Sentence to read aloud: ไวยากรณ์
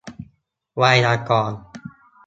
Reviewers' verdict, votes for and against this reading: accepted, 2, 0